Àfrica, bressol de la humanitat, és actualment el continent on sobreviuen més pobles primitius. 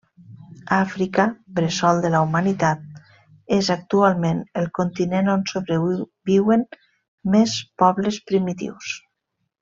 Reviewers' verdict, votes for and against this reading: rejected, 0, 2